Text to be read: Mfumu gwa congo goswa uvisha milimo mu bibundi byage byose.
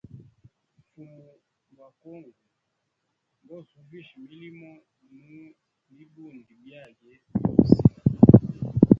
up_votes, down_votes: 0, 2